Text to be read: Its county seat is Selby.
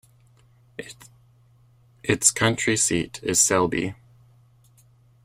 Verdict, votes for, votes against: rejected, 0, 2